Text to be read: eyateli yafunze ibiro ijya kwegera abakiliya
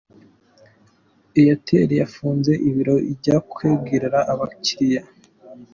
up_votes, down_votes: 2, 3